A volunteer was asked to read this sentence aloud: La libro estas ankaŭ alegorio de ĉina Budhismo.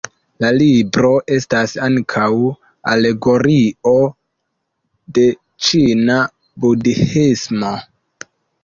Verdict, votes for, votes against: accepted, 2, 0